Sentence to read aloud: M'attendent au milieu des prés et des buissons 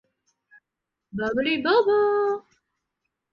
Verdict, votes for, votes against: rejected, 0, 2